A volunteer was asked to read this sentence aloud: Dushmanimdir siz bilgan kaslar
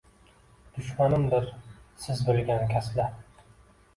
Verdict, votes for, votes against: accepted, 2, 0